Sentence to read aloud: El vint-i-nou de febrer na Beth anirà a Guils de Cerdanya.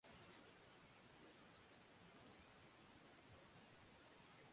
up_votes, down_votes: 0, 2